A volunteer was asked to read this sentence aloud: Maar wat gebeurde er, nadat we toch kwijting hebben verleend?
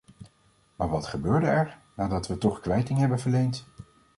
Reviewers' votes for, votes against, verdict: 2, 0, accepted